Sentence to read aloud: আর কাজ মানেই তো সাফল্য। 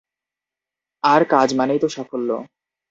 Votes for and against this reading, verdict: 4, 0, accepted